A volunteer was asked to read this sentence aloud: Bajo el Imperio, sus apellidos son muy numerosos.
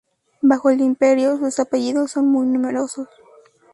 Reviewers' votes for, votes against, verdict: 0, 2, rejected